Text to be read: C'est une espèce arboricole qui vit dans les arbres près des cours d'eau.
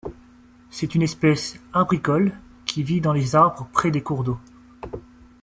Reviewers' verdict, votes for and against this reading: rejected, 1, 2